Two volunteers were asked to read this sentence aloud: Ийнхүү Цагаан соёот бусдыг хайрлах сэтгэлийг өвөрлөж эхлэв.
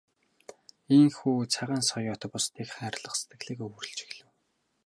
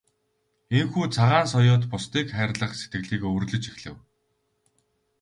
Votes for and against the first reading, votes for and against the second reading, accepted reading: 0, 2, 4, 0, second